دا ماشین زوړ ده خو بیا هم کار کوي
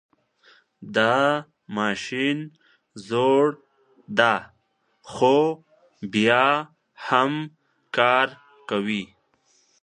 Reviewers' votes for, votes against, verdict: 1, 2, rejected